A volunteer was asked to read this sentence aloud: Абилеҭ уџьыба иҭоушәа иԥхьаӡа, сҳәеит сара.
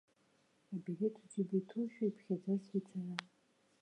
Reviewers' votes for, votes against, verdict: 1, 2, rejected